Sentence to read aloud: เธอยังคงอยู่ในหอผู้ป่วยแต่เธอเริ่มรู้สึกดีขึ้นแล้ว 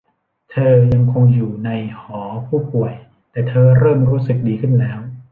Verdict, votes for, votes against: accepted, 2, 0